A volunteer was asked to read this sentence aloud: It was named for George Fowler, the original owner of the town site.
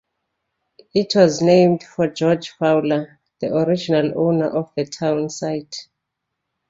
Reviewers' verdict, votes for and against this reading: accepted, 2, 0